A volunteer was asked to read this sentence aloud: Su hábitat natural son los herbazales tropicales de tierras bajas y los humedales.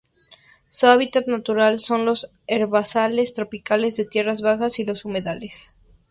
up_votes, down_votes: 2, 0